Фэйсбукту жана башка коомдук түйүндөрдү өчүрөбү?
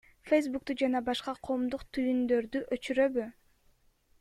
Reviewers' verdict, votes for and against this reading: rejected, 1, 2